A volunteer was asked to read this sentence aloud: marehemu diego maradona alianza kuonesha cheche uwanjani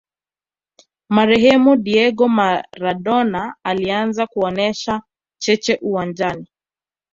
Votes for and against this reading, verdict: 2, 1, accepted